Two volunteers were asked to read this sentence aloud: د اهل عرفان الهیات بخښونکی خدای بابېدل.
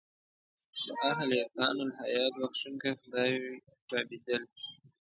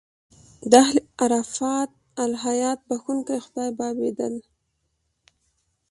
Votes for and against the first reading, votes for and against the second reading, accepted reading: 0, 2, 2, 1, second